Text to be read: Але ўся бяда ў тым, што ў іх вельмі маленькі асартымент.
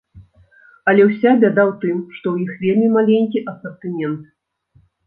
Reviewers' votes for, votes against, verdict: 2, 0, accepted